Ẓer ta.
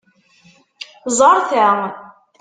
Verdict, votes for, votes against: accepted, 2, 0